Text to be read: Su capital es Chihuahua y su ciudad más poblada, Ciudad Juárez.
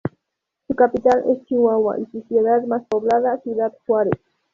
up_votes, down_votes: 2, 0